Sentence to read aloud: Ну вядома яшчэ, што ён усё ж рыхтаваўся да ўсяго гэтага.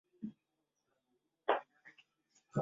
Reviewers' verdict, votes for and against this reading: rejected, 0, 2